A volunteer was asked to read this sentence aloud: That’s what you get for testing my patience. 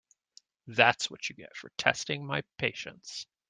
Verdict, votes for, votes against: rejected, 1, 2